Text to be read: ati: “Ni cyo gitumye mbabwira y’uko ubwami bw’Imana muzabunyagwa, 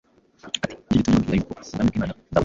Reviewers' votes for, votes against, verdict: 0, 2, rejected